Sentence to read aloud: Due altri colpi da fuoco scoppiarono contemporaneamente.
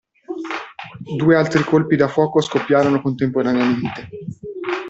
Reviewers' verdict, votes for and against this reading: rejected, 0, 2